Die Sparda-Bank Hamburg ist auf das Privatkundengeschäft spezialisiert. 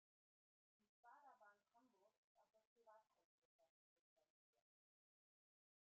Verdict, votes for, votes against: rejected, 0, 2